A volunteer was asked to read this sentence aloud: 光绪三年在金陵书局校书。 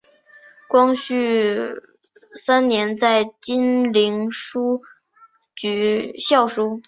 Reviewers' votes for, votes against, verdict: 5, 2, accepted